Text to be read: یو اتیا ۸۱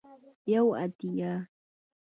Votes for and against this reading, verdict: 0, 2, rejected